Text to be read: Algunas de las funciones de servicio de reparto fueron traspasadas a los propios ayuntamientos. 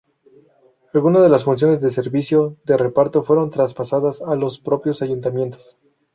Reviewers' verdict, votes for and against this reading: rejected, 2, 2